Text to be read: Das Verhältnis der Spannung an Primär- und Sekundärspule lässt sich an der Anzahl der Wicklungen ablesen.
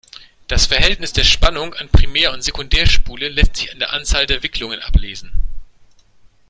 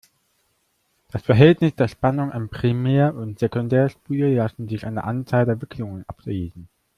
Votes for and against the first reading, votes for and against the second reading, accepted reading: 2, 0, 0, 2, first